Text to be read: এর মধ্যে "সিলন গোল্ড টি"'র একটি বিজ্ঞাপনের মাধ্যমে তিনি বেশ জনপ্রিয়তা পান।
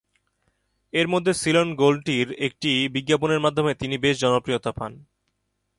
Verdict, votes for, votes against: accepted, 5, 1